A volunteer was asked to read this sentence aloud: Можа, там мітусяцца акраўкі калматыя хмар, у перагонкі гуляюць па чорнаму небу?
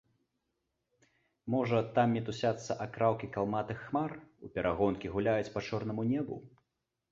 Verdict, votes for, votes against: accepted, 2, 1